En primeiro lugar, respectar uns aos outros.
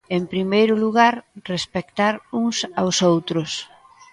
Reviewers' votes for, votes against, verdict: 2, 0, accepted